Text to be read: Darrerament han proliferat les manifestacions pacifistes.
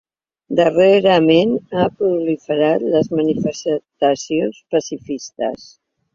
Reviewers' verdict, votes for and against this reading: rejected, 1, 2